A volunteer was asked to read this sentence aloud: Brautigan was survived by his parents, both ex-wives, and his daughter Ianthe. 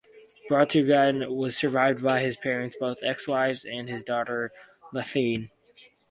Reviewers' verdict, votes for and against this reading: rejected, 2, 2